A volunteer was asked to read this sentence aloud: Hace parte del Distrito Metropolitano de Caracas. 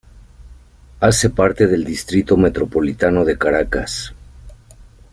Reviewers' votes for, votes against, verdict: 2, 0, accepted